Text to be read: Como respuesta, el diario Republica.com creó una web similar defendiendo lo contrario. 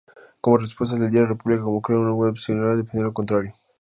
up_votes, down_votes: 0, 2